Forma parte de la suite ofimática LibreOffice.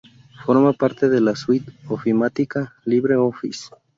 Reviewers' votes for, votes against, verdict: 2, 0, accepted